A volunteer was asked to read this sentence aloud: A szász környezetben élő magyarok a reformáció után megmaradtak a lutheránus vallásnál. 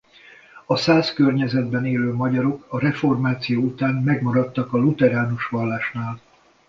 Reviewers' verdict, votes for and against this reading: accepted, 2, 0